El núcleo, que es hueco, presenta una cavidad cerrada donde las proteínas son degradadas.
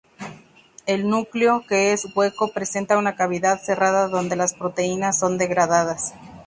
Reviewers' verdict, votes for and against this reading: rejected, 0, 2